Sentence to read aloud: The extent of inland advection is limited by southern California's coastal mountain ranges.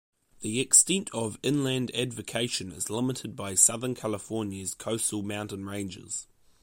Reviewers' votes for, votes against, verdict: 1, 2, rejected